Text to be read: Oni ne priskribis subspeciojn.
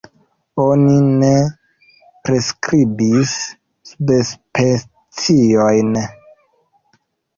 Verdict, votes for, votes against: rejected, 1, 2